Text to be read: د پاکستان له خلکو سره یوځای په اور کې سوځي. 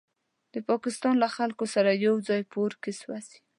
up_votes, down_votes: 2, 0